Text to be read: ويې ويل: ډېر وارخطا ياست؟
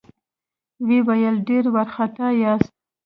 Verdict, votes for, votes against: accepted, 2, 0